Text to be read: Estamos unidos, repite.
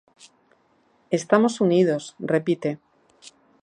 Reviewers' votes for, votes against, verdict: 4, 1, accepted